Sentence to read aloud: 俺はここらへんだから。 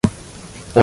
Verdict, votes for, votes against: rejected, 0, 2